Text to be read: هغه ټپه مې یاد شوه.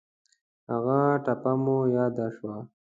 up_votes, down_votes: 1, 2